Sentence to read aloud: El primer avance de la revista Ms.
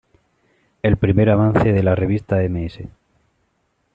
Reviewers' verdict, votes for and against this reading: accepted, 2, 0